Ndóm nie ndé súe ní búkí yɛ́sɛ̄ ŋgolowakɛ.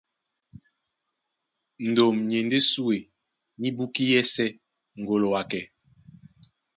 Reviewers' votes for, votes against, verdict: 2, 0, accepted